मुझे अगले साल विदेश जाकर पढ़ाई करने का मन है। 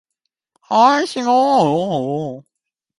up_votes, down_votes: 0, 2